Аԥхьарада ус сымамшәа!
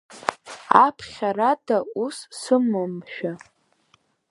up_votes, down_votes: 4, 5